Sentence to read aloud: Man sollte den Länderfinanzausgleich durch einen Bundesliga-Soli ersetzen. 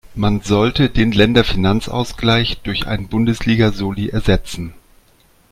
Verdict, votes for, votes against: accepted, 2, 0